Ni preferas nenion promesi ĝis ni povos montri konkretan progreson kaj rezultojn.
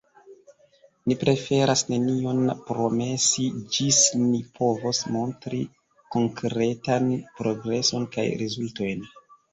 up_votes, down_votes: 0, 2